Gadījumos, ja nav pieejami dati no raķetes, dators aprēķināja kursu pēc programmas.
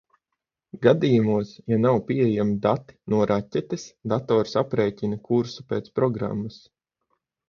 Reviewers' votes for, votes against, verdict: 0, 6, rejected